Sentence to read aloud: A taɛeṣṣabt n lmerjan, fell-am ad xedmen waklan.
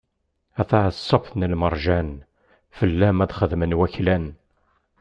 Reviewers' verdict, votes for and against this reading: accepted, 2, 0